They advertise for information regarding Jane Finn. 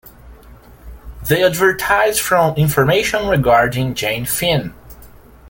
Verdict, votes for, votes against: rejected, 1, 2